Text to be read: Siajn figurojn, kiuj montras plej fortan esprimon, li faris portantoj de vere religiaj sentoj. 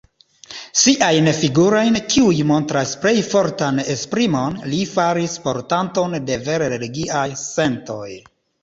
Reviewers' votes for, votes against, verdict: 2, 0, accepted